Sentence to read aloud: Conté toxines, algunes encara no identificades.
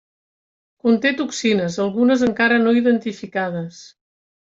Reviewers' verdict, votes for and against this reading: accepted, 3, 0